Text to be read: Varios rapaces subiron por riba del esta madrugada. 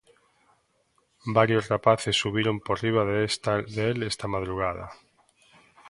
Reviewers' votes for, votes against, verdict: 0, 2, rejected